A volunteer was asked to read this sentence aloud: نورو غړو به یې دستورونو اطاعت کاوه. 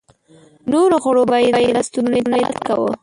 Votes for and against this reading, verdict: 0, 2, rejected